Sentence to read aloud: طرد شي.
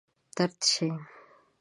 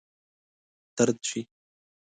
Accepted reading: second